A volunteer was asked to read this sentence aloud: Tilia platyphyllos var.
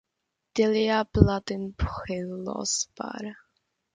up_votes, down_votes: 0, 2